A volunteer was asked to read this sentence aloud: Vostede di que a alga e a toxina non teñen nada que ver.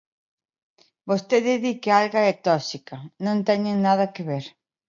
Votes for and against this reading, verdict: 0, 2, rejected